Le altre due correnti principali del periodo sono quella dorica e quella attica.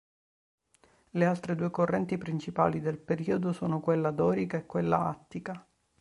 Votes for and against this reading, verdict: 2, 0, accepted